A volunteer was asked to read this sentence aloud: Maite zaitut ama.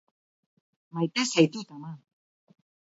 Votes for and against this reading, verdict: 0, 2, rejected